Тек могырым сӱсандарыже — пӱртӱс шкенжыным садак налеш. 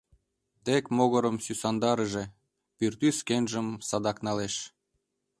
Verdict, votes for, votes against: rejected, 1, 2